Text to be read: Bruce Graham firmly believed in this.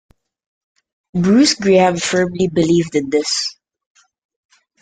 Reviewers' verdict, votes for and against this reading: accepted, 2, 0